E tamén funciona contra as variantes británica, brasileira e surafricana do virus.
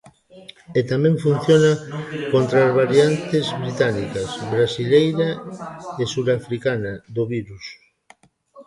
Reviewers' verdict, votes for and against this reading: rejected, 0, 2